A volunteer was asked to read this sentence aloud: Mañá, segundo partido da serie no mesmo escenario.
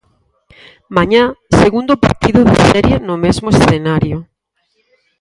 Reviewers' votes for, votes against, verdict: 0, 4, rejected